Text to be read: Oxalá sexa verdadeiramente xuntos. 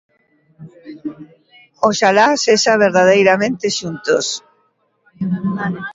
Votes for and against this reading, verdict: 1, 2, rejected